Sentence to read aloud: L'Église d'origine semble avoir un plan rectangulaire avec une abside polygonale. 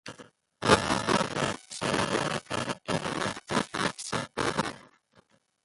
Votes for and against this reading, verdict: 0, 2, rejected